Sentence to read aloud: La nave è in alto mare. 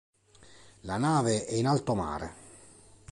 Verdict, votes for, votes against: accepted, 3, 0